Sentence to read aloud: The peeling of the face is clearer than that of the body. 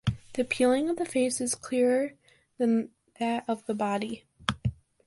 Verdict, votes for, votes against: accepted, 2, 0